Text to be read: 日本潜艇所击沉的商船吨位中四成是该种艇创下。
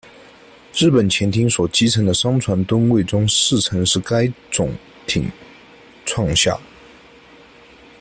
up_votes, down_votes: 1, 2